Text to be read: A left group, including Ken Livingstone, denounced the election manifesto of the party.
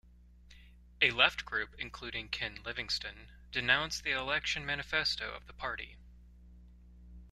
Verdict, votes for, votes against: accepted, 2, 0